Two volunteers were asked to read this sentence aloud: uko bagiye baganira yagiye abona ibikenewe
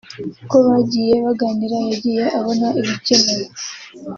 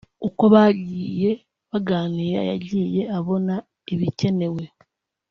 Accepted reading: first